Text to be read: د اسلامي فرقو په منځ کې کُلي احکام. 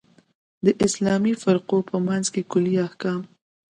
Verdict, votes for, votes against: accepted, 2, 0